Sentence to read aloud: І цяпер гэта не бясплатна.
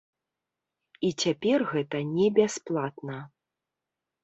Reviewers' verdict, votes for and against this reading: accepted, 2, 0